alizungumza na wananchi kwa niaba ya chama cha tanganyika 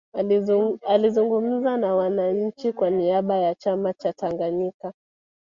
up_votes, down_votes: 0, 2